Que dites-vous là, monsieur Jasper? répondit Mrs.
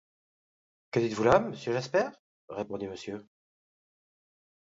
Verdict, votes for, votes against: rejected, 1, 2